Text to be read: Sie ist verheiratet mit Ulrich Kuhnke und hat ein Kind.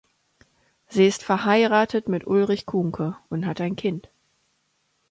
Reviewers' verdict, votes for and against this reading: accepted, 2, 0